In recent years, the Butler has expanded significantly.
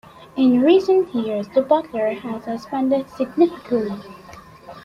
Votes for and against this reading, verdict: 2, 1, accepted